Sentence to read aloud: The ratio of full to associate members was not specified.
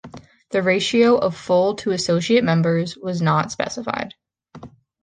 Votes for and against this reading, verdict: 2, 0, accepted